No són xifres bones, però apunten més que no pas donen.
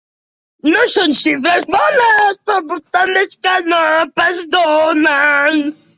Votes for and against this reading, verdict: 1, 2, rejected